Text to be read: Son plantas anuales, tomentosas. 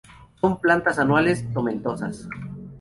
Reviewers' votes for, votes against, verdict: 2, 0, accepted